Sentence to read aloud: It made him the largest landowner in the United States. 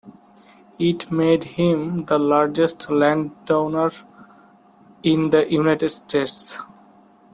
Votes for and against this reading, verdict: 2, 0, accepted